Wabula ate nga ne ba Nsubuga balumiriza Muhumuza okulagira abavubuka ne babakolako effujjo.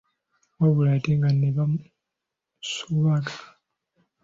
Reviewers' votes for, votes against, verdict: 0, 2, rejected